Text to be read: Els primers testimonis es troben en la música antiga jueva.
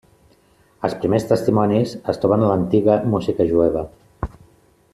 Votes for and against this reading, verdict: 0, 2, rejected